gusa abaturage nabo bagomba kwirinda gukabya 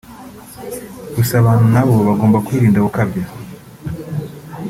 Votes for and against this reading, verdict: 1, 2, rejected